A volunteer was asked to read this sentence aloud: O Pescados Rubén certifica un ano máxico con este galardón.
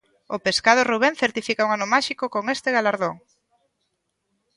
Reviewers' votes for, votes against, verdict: 2, 0, accepted